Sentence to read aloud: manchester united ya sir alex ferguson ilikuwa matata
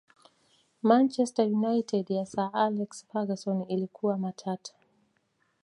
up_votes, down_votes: 2, 0